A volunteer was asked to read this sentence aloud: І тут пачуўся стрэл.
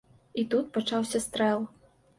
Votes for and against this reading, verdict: 0, 2, rejected